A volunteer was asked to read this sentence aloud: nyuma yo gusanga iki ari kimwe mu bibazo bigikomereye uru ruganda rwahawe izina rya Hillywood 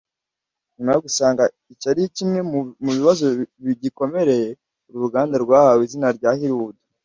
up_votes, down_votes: 1, 2